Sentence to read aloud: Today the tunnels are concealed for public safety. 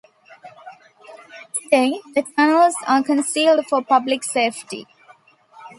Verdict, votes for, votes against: rejected, 1, 2